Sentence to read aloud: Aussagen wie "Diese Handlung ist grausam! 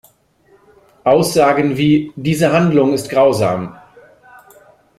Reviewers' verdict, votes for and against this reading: accepted, 2, 0